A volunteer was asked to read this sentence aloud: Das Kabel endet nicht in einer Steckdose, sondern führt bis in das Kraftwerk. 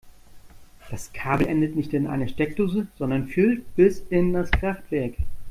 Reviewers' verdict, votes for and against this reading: rejected, 1, 2